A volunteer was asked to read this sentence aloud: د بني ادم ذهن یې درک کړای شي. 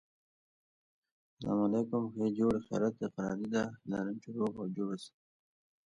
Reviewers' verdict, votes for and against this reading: rejected, 1, 2